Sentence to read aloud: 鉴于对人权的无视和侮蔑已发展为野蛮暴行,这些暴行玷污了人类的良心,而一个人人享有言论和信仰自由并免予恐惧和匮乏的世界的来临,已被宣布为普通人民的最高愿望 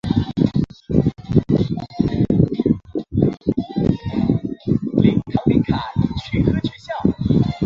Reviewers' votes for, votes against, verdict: 0, 3, rejected